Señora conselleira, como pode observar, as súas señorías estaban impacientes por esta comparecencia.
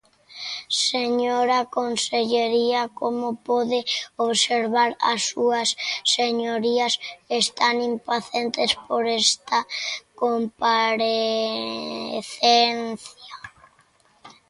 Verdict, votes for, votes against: rejected, 0, 2